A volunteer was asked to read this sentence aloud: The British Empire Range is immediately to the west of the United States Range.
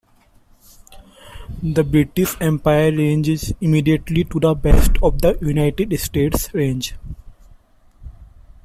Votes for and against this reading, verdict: 2, 0, accepted